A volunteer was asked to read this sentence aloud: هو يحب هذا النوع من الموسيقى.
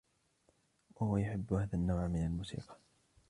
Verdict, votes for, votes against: rejected, 1, 2